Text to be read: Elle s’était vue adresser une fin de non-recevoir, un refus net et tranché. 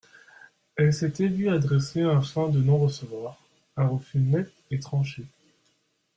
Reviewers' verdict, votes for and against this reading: rejected, 1, 2